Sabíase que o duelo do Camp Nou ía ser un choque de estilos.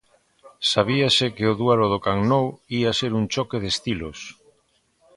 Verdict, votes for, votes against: accepted, 2, 0